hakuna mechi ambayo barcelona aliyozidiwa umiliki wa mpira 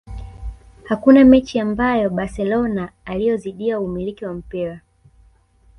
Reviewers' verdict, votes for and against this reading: rejected, 1, 2